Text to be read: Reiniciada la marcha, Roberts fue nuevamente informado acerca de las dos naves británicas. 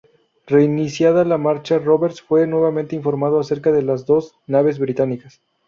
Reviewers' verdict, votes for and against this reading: accepted, 2, 0